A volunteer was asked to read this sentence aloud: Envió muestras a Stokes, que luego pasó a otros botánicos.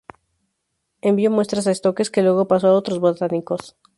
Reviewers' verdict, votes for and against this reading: accepted, 4, 0